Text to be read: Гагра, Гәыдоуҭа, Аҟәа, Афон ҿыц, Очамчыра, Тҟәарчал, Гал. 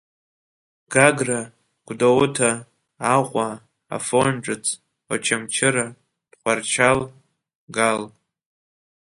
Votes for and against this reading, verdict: 2, 0, accepted